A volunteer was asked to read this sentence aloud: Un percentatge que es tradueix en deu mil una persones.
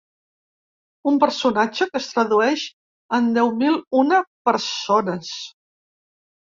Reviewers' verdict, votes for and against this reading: rejected, 1, 2